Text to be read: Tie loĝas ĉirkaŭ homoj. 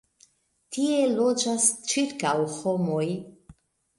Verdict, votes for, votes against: rejected, 1, 2